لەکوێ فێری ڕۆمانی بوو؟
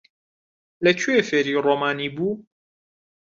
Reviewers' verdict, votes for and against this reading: accepted, 2, 0